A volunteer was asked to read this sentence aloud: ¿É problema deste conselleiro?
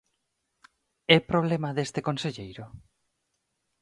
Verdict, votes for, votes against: accepted, 4, 0